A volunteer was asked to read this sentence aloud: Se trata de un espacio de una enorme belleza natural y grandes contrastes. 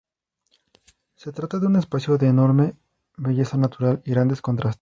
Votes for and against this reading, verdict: 0, 2, rejected